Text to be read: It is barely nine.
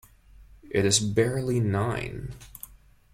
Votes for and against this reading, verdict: 2, 0, accepted